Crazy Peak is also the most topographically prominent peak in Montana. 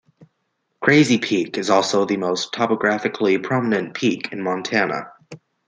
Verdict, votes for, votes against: accepted, 2, 0